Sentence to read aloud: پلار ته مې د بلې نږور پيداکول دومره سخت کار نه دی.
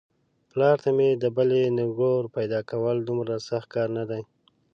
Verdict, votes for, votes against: accepted, 2, 0